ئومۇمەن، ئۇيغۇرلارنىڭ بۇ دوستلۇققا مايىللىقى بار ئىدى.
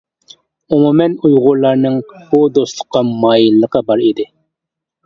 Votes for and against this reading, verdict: 2, 0, accepted